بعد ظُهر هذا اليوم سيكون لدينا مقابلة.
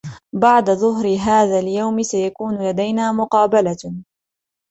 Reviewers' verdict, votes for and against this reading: accepted, 2, 1